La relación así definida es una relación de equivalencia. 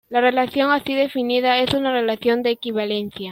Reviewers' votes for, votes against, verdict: 1, 2, rejected